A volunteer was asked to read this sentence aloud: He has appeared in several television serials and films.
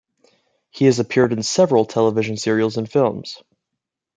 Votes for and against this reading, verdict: 2, 0, accepted